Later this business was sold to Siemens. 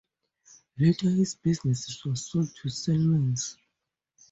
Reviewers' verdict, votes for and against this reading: accepted, 4, 0